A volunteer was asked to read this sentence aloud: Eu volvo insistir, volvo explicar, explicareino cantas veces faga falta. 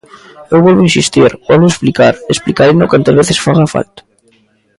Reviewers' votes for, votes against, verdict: 0, 2, rejected